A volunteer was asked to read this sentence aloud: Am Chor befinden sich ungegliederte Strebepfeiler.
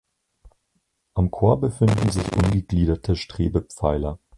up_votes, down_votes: 2, 4